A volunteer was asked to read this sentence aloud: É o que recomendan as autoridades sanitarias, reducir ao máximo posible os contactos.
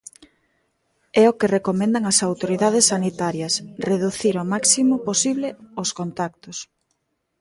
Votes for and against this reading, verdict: 2, 0, accepted